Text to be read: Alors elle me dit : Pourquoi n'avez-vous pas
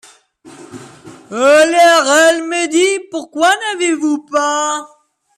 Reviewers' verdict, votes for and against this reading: rejected, 1, 2